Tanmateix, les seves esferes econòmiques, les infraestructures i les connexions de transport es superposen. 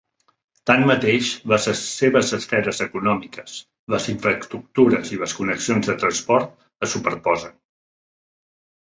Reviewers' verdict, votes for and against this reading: rejected, 1, 2